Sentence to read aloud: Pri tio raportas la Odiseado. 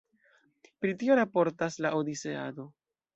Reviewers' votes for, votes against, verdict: 2, 0, accepted